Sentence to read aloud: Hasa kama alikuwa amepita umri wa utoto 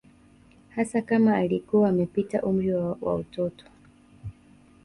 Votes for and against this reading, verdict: 2, 0, accepted